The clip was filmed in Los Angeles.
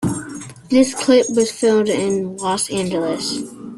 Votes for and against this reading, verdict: 2, 0, accepted